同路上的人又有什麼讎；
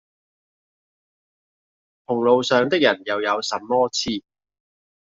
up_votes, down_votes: 0, 2